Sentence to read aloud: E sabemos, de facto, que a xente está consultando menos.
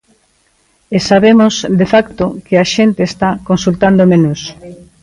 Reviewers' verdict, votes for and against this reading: rejected, 0, 2